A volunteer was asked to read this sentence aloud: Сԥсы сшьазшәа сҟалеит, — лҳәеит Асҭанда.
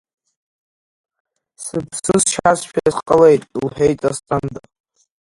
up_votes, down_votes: 2, 0